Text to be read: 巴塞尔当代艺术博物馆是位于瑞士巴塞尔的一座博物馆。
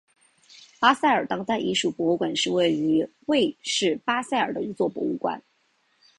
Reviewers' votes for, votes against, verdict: 1, 2, rejected